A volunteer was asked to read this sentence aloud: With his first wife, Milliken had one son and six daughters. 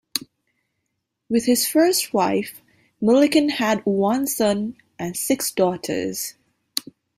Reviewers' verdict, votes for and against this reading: accepted, 2, 0